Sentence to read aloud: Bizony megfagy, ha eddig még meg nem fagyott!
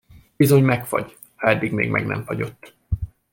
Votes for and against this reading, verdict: 2, 0, accepted